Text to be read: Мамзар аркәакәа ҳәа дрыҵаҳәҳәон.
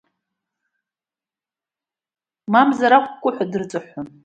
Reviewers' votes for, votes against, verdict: 1, 2, rejected